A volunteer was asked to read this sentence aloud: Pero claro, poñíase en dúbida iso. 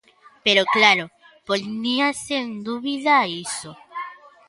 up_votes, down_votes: 1, 2